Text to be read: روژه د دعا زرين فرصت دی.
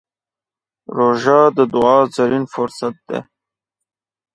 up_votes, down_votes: 5, 0